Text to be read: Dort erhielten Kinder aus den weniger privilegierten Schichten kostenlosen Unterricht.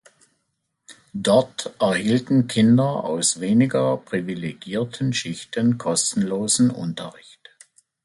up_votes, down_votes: 0, 2